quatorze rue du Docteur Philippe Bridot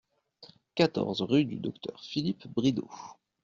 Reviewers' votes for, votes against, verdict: 2, 0, accepted